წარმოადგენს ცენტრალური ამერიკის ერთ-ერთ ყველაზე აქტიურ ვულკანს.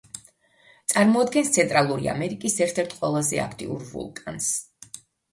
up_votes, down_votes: 2, 0